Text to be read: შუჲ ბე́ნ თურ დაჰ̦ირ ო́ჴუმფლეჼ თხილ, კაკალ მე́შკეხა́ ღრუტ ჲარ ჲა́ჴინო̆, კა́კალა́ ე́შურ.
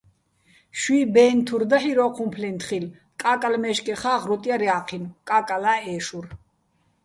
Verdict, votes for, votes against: accepted, 2, 0